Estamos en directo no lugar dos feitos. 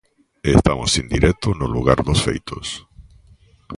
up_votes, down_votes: 2, 0